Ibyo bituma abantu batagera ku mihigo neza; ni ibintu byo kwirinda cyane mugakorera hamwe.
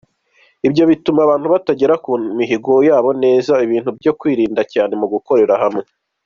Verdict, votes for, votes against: rejected, 1, 2